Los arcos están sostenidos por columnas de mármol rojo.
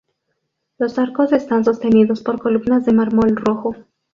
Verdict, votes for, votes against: accepted, 2, 0